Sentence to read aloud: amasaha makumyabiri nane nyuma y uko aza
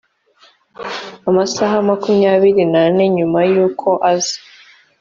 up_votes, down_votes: 2, 0